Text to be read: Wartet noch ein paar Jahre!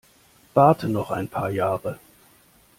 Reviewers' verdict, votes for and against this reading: rejected, 0, 2